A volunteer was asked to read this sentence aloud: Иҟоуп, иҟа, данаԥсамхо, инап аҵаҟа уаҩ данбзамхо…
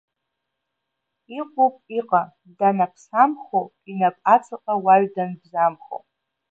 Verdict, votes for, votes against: accepted, 11, 1